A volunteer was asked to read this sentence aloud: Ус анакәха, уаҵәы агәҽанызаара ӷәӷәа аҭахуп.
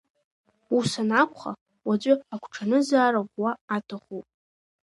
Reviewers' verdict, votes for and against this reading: accepted, 2, 0